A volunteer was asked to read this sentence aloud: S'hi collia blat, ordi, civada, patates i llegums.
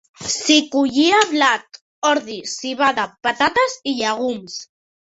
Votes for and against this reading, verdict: 3, 0, accepted